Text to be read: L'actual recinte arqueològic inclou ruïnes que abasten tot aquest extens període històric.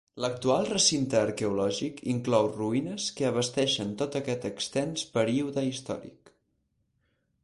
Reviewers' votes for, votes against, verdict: 2, 4, rejected